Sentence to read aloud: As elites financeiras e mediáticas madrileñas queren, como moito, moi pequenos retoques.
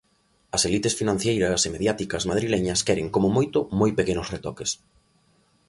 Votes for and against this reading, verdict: 1, 2, rejected